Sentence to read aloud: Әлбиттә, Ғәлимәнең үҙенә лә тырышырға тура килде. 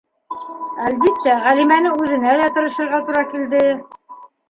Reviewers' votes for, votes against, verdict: 0, 2, rejected